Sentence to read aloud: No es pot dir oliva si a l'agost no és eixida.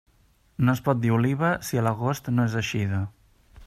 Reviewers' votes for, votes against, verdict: 3, 0, accepted